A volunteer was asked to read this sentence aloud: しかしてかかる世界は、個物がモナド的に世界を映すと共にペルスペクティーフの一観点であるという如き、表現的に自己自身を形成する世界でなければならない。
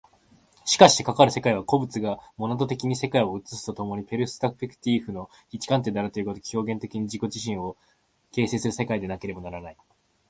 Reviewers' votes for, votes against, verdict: 2, 0, accepted